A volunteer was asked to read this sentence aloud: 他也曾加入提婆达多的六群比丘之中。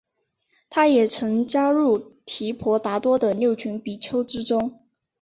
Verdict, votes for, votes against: accepted, 3, 0